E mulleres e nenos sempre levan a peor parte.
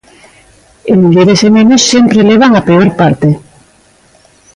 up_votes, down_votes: 2, 0